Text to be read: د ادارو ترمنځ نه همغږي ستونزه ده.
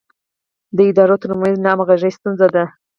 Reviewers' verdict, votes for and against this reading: rejected, 2, 4